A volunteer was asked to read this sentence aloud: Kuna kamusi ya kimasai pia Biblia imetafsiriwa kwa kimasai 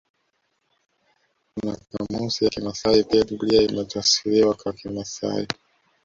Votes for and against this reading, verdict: 0, 2, rejected